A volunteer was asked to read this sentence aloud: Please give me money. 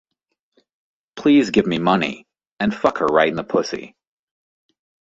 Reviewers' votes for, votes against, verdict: 1, 2, rejected